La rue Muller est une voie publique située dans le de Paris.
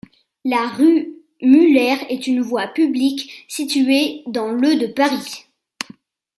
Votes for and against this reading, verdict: 2, 1, accepted